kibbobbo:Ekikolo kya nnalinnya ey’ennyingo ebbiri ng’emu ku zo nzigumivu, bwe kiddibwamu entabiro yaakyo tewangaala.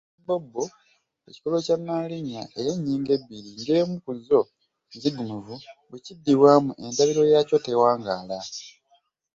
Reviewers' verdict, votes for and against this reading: rejected, 0, 2